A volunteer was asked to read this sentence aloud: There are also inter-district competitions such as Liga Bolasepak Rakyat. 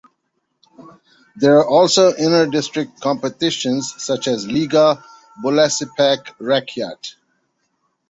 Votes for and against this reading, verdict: 2, 0, accepted